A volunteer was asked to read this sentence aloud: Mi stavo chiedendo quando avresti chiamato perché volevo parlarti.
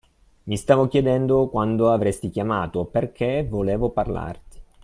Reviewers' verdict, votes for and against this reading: accepted, 2, 0